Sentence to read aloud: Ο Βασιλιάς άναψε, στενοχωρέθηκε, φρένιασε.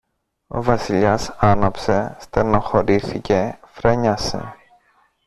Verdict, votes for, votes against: rejected, 1, 2